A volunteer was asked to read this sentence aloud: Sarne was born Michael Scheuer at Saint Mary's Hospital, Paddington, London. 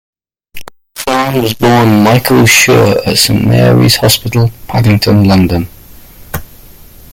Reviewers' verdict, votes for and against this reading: rejected, 0, 2